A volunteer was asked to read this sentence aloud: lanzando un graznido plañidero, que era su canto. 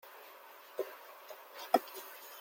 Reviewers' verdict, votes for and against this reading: rejected, 0, 2